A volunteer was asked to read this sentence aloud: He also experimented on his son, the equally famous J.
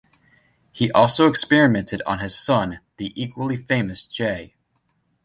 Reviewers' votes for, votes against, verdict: 2, 0, accepted